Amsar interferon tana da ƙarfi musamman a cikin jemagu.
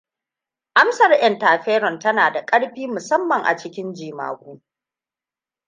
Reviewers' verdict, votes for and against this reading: rejected, 1, 2